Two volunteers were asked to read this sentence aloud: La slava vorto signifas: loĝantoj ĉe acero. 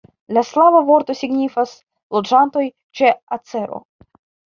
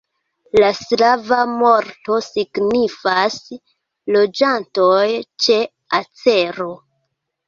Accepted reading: second